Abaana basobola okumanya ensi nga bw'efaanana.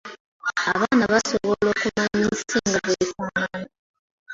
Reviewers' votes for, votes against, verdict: 0, 2, rejected